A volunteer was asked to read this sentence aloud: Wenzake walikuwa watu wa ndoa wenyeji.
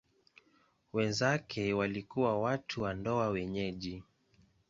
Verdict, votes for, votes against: accepted, 2, 0